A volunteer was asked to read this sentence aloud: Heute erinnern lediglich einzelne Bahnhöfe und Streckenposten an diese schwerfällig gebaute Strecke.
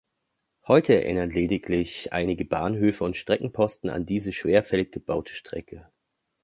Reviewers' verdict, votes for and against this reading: rejected, 0, 3